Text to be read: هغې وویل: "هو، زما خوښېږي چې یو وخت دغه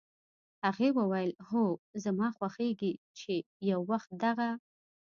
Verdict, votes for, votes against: accepted, 2, 0